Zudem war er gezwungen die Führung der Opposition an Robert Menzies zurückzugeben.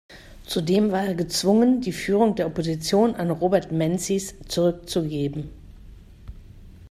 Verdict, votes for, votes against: accepted, 2, 0